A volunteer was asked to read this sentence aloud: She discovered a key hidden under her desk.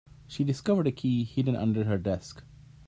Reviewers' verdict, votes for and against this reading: accepted, 2, 0